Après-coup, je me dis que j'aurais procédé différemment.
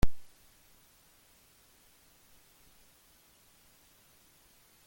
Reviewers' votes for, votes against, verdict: 0, 2, rejected